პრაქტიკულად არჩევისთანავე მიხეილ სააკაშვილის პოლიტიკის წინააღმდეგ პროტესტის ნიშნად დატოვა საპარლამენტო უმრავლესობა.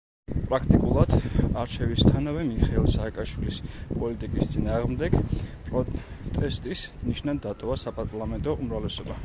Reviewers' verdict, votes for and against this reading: rejected, 1, 2